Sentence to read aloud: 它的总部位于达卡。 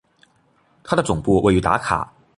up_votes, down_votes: 2, 0